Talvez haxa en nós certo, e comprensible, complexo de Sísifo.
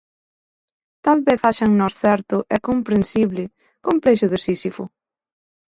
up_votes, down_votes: 2, 0